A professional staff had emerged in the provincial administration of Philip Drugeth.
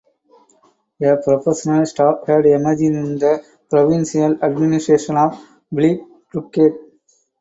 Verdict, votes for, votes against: rejected, 2, 4